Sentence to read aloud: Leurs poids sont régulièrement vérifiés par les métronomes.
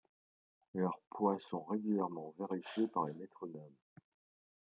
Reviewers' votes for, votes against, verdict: 2, 0, accepted